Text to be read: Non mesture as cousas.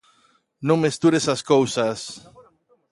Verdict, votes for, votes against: rejected, 0, 2